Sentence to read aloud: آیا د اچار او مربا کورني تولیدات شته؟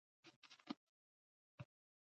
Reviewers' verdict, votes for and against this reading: rejected, 1, 2